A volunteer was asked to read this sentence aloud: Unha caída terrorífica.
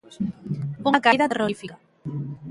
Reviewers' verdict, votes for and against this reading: rejected, 1, 2